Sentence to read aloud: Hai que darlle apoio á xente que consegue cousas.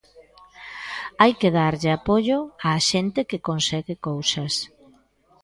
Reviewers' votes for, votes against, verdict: 0, 2, rejected